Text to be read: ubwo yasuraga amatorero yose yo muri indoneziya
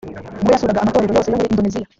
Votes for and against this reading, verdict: 1, 2, rejected